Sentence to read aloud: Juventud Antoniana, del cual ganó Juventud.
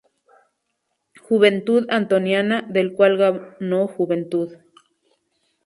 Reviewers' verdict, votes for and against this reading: rejected, 0, 2